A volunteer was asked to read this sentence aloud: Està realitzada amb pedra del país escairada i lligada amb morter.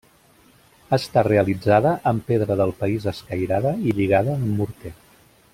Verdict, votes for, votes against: accepted, 2, 0